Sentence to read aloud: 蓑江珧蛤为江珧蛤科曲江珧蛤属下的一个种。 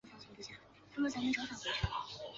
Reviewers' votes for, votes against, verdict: 0, 2, rejected